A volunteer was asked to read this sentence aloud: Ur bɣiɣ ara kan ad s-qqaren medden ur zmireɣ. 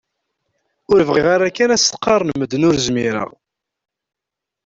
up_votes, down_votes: 2, 0